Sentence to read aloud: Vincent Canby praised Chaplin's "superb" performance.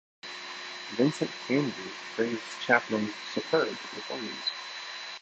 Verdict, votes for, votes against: rejected, 1, 2